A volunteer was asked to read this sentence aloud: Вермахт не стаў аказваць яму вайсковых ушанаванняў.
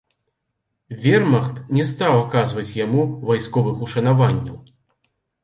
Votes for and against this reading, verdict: 2, 0, accepted